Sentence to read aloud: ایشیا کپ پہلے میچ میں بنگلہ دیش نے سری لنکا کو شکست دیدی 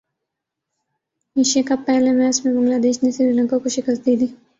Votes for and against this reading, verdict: 5, 1, accepted